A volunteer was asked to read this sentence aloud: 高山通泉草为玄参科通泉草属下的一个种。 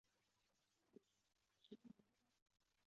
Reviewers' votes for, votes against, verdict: 1, 3, rejected